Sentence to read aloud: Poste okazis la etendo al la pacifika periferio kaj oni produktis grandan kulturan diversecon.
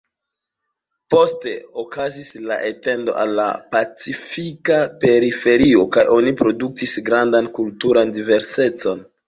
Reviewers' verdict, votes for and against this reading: accepted, 2, 0